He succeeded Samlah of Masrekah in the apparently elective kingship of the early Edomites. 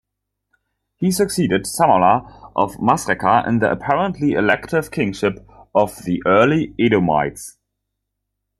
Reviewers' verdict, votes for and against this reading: accepted, 2, 1